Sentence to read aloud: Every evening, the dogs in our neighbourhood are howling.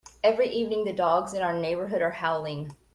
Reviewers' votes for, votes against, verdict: 2, 0, accepted